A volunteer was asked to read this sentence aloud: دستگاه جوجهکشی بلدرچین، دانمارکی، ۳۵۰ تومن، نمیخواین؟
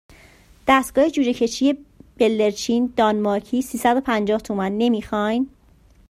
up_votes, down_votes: 0, 2